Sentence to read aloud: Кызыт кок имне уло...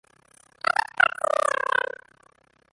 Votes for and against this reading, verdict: 0, 2, rejected